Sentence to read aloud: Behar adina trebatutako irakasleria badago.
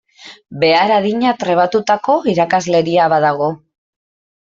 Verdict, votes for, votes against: accepted, 2, 0